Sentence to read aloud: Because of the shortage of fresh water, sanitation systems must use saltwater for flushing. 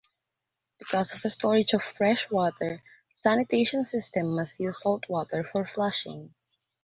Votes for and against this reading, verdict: 2, 1, accepted